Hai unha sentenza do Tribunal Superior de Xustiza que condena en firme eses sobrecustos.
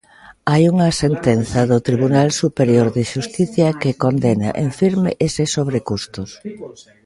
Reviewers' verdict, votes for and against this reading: rejected, 1, 2